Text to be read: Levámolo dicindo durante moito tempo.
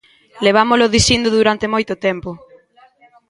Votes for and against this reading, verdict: 2, 0, accepted